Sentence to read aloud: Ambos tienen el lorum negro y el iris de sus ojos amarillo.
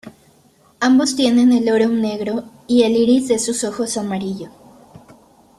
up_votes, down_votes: 2, 0